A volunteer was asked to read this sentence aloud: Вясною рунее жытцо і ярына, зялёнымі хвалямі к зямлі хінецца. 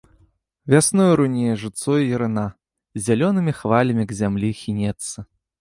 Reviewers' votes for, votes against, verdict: 3, 1, accepted